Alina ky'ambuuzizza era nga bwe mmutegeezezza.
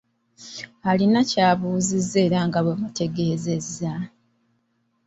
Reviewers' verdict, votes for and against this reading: rejected, 1, 2